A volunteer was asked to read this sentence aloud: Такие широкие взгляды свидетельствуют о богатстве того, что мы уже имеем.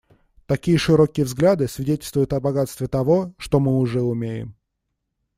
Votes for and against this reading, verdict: 1, 2, rejected